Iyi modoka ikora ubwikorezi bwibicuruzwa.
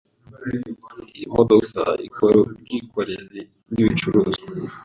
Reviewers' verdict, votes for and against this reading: rejected, 1, 2